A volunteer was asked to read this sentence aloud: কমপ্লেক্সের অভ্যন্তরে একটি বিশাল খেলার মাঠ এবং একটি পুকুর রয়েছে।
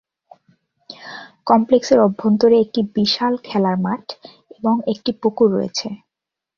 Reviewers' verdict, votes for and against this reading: accepted, 8, 0